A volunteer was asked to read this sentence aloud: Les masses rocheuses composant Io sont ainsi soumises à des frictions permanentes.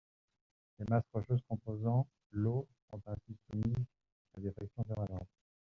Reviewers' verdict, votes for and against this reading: rejected, 0, 2